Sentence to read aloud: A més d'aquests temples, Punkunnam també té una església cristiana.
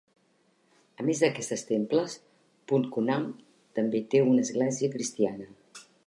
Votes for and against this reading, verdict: 2, 1, accepted